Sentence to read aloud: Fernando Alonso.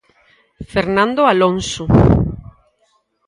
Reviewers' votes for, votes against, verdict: 2, 2, rejected